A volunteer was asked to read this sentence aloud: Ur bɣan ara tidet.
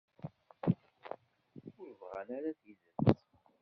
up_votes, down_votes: 1, 2